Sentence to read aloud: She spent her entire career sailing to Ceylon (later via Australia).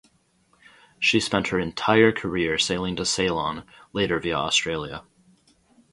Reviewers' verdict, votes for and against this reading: rejected, 0, 2